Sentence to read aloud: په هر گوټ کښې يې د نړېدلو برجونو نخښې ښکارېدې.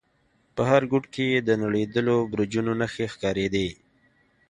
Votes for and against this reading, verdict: 2, 0, accepted